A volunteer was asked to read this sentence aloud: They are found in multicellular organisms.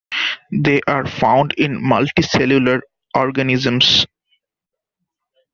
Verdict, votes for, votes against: accepted, 2, 1